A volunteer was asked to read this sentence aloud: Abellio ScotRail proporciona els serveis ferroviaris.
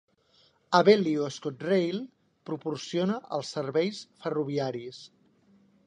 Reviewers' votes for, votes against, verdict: 3, 0, accepted